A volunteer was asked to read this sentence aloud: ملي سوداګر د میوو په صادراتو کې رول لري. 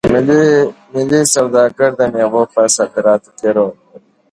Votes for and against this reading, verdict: 2, 0, accepted